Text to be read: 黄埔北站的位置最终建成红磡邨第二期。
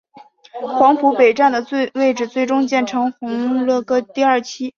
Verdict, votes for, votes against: rejected, 0, 2